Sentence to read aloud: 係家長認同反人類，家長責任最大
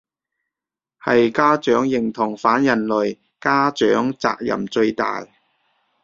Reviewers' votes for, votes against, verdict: 2, 0, accepted